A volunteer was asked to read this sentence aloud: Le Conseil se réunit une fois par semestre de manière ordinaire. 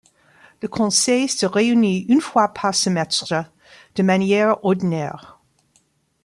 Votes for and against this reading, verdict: 0, 2, rejected